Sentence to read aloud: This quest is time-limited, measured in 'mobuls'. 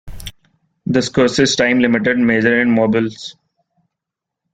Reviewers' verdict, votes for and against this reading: accepted, 2, 0